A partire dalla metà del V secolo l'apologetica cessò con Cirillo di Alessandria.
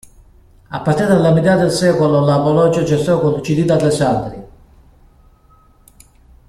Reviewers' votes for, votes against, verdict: 0, 2, rejected